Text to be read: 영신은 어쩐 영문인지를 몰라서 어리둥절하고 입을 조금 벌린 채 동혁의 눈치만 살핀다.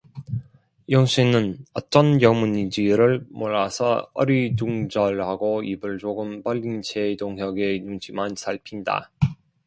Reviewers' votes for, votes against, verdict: 0, 2, rejected